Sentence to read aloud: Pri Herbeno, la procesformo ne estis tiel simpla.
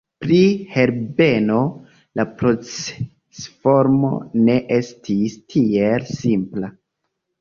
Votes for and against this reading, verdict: 2, 0, accepted